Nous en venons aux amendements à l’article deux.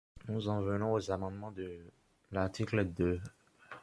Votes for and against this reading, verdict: 0, 2, rejected